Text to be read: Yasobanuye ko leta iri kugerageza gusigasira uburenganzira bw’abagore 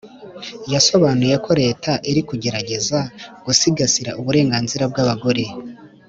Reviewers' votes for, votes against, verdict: 3, 1, accepted